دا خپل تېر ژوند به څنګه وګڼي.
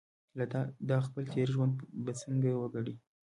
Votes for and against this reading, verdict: 2, 1, accepted